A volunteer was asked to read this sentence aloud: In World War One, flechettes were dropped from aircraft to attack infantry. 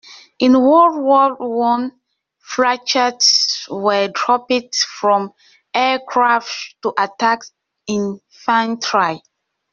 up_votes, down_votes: 0, 2